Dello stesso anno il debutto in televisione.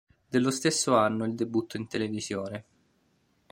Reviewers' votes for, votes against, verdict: 2, 0, accepted